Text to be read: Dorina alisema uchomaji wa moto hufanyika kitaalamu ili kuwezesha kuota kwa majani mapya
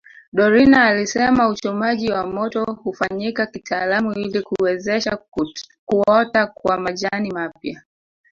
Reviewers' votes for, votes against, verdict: 1, 2, rejected